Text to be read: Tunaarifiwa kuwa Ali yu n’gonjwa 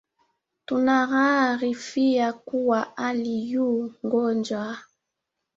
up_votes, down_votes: 0, 2